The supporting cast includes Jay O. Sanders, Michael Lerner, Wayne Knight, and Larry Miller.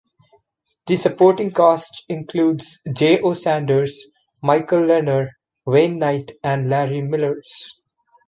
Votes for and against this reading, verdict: 1, 2, rejected